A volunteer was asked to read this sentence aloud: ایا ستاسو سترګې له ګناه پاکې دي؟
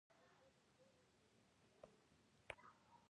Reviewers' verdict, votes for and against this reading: rejected, 0, 2